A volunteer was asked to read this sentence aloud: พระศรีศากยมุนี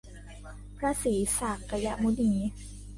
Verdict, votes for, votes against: rejected, 0, 2